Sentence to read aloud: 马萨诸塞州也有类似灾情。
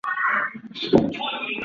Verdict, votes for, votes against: rejected, 0, 4